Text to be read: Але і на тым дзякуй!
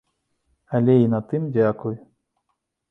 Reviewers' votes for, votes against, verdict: 2, 0, accepted